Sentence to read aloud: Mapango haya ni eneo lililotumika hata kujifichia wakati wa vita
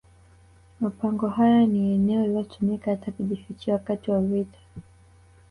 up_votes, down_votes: 2, 0